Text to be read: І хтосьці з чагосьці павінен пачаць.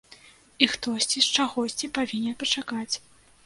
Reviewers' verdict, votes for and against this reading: rejected, 0, 2